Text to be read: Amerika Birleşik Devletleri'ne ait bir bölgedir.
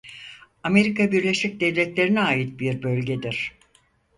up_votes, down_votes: 4, 0